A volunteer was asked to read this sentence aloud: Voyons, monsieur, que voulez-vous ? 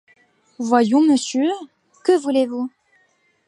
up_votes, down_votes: 2, 0